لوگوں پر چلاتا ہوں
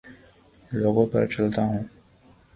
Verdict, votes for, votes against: rejected, 0, 2